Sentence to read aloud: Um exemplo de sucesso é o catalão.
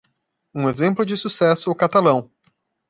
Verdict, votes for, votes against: rejected, 1, 2